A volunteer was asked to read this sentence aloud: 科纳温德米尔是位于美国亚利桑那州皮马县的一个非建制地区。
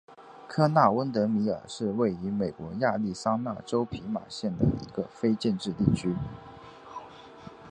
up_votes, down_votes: 2, 0